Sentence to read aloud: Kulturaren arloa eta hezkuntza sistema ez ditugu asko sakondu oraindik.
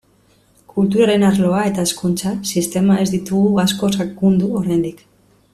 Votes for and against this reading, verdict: 1, 2, rejected